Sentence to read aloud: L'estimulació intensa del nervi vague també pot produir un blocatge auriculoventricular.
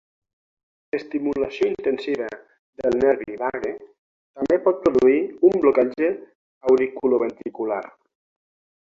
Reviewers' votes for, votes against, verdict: 6, 0, accepted